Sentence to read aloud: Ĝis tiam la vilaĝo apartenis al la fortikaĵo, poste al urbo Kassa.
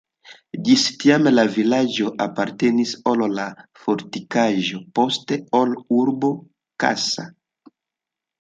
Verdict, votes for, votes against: rejected, 0, 2